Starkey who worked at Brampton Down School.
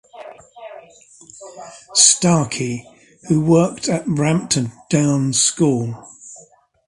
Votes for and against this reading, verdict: 2, 0, accepted